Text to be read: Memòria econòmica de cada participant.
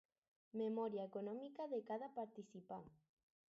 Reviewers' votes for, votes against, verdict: 4, 0, accepted